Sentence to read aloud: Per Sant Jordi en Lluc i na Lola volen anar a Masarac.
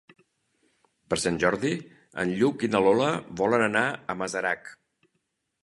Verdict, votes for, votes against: accepted, 2, 0